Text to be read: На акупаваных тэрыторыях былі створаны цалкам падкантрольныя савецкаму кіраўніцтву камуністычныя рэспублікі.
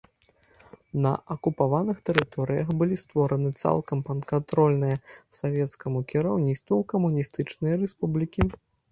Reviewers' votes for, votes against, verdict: 1, 2, rejected